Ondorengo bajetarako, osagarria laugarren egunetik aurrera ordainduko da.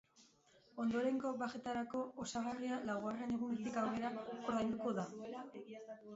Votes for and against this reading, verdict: 0, 3, rejected